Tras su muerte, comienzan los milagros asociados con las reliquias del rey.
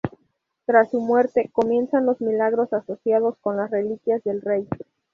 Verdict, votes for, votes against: accepted, 4, 0